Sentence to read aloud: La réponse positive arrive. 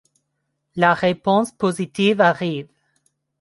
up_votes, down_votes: 2, 0